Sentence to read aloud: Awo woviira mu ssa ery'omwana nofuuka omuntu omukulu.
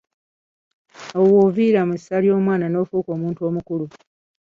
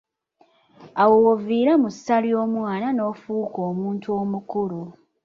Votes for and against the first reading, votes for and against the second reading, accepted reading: 2, 0, 1, 2, first